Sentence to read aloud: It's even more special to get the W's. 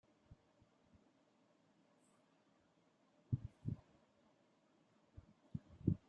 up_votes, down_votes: 0, 2